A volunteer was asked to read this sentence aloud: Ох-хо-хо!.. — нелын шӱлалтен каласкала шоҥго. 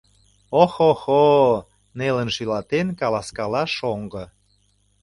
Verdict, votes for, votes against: rejected, 0, 2